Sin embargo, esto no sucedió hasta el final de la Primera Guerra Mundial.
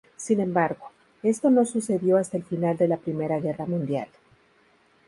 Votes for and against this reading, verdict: 2, 0, accepted